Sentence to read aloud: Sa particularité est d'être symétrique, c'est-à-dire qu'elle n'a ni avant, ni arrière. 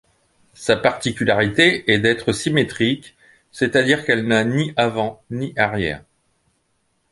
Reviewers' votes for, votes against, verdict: 2, 0, accepted